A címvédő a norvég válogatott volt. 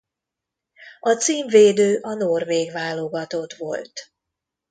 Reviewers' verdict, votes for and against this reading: accepted, 2, 0